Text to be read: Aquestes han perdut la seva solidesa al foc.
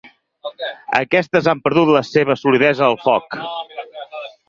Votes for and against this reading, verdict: 0, 4, rejected